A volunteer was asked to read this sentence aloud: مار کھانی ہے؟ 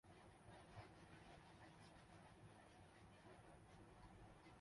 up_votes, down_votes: 0, 2